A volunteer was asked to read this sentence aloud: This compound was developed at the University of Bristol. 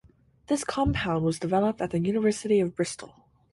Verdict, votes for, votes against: accepted, 4, 0